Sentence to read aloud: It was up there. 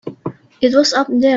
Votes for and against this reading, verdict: 2, 1, accepted